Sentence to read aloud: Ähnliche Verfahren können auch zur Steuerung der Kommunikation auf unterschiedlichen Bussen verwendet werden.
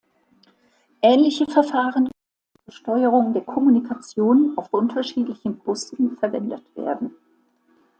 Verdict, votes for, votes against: rejected, 0, 2